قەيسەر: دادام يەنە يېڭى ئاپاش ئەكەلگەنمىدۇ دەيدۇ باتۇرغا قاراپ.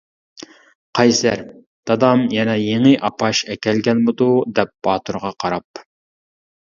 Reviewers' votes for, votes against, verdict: 0, 2, rejected